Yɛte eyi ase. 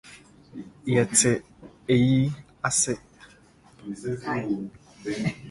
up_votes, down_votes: 1, 2